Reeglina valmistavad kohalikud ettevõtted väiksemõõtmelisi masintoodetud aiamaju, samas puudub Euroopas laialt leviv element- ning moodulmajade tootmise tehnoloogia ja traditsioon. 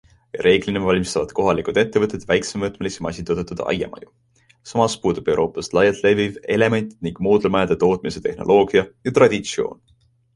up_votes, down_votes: 2, 0